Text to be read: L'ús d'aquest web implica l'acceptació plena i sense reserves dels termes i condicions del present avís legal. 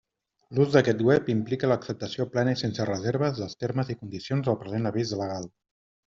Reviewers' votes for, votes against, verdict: 2, 0, accepted